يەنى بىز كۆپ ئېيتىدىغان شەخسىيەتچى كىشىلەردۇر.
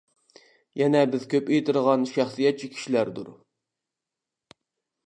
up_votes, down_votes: 1, 2